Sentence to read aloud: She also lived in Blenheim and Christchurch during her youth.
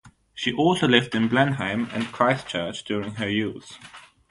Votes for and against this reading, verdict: 3, 0, accepted